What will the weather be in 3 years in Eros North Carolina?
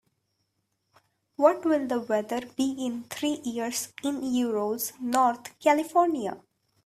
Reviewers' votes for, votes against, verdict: 0, 2, rejected